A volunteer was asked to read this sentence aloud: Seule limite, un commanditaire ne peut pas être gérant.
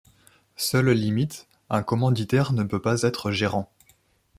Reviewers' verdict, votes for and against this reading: accepted, 2, 0